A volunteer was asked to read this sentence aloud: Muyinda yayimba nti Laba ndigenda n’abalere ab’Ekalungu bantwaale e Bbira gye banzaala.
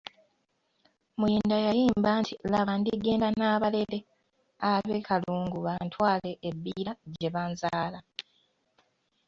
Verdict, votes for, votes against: accepted, 2, 0